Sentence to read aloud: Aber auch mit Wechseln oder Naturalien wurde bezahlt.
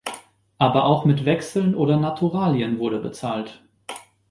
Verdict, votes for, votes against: accepted, 2, 0